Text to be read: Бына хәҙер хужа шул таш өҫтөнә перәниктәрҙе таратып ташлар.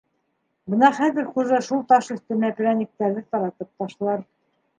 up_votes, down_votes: 2, 0